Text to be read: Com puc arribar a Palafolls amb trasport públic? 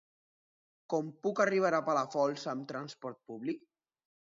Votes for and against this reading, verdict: 0, 2, rejected